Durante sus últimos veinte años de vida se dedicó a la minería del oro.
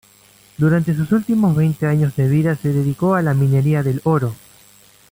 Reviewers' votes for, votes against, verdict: 2, 0, accepted